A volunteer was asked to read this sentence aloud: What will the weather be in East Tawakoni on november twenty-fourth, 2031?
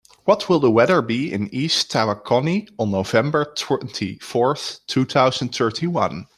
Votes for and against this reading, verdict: 0, 2, rejected